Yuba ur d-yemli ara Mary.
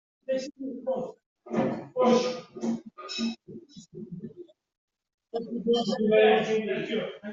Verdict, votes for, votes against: rejected, 0, 2